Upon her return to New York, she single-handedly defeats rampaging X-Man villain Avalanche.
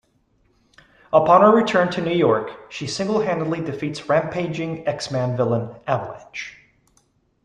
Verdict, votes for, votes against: accepted, 2, 0